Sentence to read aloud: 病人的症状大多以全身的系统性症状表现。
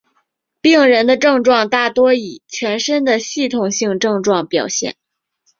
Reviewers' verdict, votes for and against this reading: accepted, 5, 0